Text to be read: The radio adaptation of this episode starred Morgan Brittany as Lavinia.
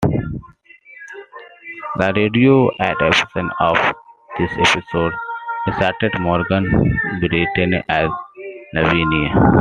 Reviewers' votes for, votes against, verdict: 2, 1, accepted